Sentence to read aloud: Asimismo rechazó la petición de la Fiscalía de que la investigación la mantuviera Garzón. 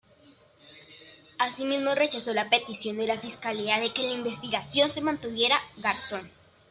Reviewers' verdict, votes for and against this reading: rejected, 0, 2